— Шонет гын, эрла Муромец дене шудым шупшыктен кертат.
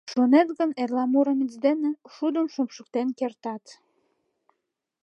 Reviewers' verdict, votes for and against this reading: accepted, 2, 0